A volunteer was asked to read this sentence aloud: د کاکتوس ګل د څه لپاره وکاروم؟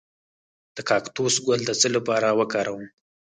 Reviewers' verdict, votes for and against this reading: rejected, 2, 4